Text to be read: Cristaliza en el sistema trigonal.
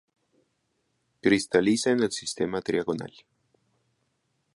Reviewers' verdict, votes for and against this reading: rejected, 0, 2